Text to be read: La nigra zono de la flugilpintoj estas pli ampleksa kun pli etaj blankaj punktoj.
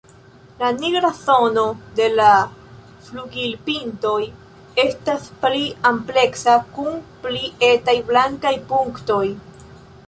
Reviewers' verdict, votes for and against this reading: accepted, 2, 0